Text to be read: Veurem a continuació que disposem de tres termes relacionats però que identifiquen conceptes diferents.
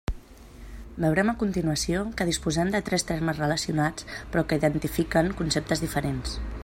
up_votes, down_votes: 2, 0